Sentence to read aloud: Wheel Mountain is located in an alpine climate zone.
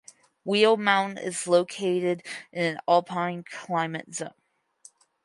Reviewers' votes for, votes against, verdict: 2, 4, rejected